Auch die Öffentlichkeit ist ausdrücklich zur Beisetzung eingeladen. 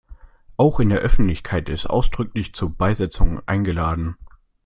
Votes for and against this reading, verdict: 2, 1, accepted